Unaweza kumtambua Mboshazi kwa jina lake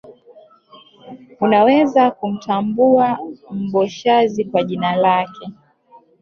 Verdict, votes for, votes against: accepted, 2, 1